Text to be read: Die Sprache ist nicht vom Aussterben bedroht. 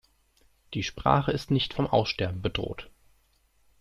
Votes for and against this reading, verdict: 2, 0, accepted